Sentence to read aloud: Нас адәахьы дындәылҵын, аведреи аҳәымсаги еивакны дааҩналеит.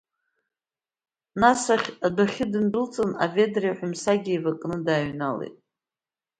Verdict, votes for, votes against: rejected, 1, 2